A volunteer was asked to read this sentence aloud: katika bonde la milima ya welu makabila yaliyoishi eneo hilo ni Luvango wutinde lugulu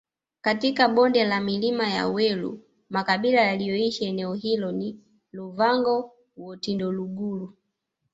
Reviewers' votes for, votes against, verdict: 1, 2, rejected